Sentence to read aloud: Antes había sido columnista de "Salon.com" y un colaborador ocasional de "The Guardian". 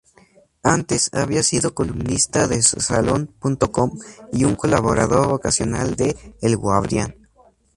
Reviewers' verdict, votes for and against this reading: rejected, 0, 2